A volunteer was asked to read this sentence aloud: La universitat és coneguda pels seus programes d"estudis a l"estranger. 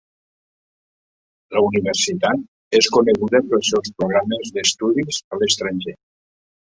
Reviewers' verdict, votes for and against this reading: accepted, 2, 0